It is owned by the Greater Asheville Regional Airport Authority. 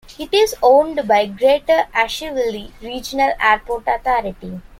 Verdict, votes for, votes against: rejected, 0, 2